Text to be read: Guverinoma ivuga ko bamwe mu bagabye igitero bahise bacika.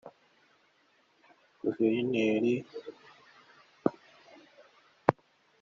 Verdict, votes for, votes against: rejected, 0, 2